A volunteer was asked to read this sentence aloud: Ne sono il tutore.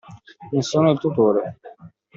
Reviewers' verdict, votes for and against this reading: accepted, 2, 1